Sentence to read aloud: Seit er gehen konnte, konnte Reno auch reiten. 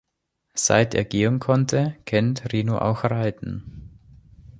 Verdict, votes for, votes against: rejected, 0, 2